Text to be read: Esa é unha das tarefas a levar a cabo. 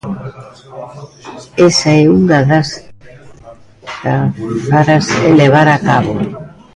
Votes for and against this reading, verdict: 0, 2, rejected